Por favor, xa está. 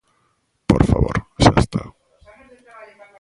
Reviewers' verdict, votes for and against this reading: rejected, 0, 2